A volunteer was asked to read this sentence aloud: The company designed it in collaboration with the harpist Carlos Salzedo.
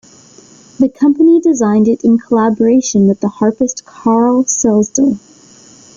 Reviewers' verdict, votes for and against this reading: rejected, 1, 2